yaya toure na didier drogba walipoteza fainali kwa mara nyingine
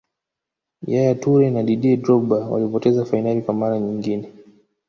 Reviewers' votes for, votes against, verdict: 2, 0, accepted